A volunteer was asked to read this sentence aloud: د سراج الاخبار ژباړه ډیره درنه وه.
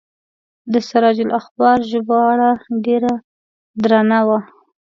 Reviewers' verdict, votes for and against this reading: accepted, 2, 0